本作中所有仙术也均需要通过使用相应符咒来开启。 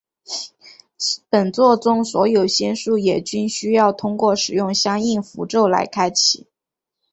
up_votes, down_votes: 7, 1